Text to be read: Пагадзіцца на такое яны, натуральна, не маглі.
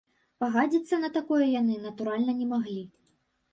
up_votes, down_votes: 0, 2